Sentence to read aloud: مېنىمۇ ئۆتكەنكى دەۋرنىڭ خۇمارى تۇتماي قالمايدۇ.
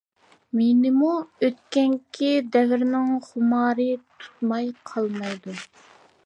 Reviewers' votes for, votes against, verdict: 2, 0, accepted